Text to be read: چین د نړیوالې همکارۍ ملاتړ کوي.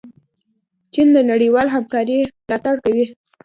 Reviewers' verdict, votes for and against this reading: rejected, 1, 2